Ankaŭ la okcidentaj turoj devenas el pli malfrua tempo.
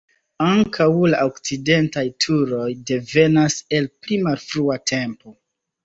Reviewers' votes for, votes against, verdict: 2, 0, accepted